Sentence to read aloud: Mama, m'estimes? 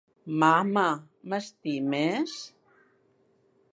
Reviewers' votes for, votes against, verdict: 3, 0, accepted